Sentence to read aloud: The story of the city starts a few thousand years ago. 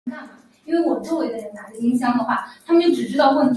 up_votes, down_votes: 0, 2